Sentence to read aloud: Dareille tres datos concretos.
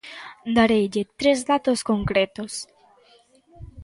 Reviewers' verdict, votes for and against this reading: accepted, 2, 0